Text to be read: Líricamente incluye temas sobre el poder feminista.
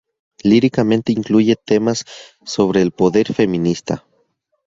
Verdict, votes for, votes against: rejected, 2, 2